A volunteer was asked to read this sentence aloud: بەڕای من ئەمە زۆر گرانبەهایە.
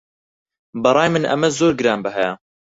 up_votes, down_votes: 4, 0